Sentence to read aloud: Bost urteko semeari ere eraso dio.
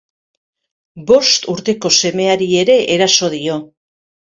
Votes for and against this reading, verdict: 2, 0, accepted